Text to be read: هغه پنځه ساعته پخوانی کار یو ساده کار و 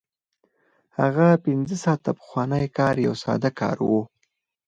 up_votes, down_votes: 0, 2